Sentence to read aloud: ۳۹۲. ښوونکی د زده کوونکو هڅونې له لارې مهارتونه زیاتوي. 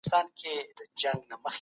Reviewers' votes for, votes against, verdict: 0, 2, rejected